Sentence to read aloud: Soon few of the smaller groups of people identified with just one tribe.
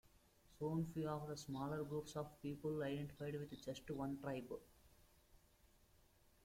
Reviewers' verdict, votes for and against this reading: accepted, 2, 0